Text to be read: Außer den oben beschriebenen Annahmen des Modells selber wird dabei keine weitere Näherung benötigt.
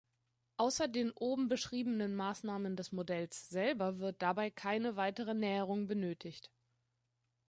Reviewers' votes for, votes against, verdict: 0, 2, rejected